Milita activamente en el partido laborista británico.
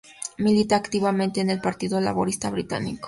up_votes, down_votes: 2, 0